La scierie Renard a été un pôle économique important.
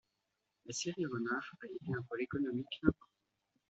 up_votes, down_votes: 2, 1